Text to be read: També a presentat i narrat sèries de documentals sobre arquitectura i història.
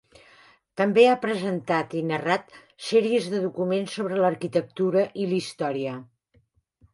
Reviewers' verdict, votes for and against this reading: rejected, 1, 3